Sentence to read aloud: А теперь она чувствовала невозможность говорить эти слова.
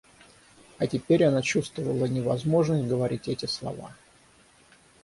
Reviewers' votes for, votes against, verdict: 3, 3, rejected